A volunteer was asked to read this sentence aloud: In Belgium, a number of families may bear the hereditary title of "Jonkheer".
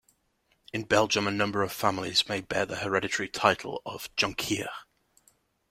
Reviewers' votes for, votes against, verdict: 2, 0, accepted